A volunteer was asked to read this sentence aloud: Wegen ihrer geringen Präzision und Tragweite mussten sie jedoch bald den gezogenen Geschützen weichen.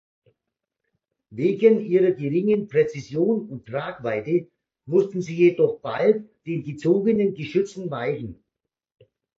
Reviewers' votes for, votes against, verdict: 2, 0, accepted